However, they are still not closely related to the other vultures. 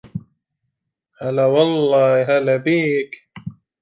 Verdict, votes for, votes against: rejected, 0, 2